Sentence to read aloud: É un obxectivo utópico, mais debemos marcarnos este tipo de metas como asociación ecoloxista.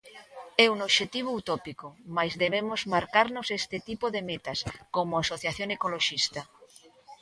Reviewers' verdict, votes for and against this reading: accepted, 2, 0